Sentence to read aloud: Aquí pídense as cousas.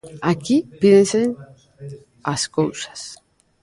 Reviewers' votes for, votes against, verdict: 0, 2, rejected